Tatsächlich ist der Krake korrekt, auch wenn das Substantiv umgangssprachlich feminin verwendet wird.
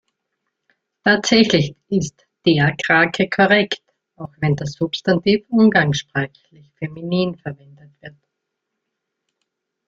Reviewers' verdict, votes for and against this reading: rejected, 1, 2